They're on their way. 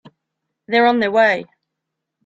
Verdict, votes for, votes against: accepted, 3, 0